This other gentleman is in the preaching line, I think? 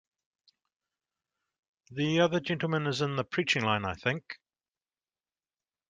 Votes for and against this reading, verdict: 1, 2, rejected